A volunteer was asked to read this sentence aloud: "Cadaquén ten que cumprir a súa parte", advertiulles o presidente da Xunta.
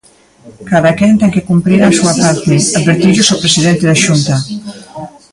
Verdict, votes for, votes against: rejected, 0, 2